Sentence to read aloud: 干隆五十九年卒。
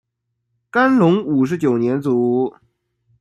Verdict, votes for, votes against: accepted, 2, 1